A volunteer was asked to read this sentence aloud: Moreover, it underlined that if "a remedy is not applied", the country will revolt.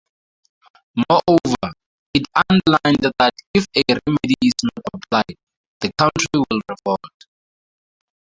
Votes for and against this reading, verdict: 0, 2, rejected